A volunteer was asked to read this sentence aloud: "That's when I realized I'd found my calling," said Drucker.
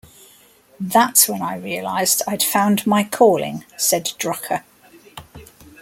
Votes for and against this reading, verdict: 2, 0, accepted